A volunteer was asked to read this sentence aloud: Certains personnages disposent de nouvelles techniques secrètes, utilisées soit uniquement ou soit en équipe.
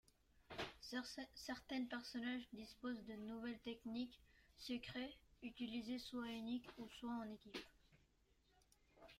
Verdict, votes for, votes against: rejected, 0, 2